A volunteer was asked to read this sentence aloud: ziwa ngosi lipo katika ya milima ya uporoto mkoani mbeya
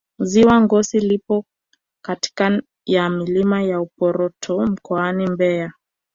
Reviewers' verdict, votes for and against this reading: accepted, 2, 0